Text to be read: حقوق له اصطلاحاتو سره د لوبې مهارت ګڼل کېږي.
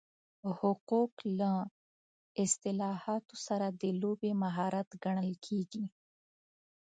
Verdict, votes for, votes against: accepted, 4, 0